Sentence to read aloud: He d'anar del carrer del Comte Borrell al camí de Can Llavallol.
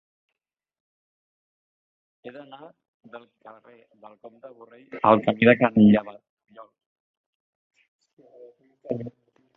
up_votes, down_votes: 0, 2